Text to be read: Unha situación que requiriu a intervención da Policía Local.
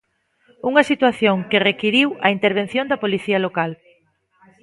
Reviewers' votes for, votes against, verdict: 2, 0, accepted